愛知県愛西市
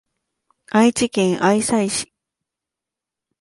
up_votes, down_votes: 2, 0